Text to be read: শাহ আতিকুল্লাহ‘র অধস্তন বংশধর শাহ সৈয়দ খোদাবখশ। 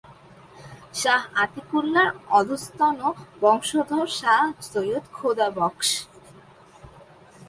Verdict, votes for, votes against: accepted, 4, 0